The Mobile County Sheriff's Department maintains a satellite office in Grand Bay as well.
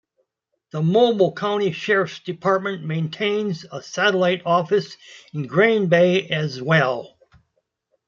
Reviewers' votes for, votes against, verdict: 2, 0, accepted